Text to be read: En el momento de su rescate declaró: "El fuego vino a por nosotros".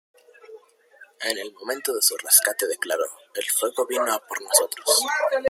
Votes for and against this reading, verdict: 0, 2, rejected